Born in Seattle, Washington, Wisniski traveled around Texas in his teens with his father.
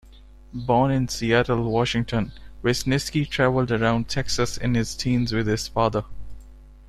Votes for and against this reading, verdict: 1, 2, rejected